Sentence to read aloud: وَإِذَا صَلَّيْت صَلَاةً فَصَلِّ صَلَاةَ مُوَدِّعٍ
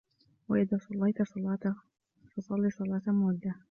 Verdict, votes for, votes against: accepted, 2, 1